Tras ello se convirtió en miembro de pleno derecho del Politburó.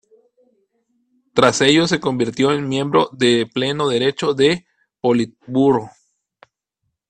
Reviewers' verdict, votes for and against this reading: rejected, 0, 2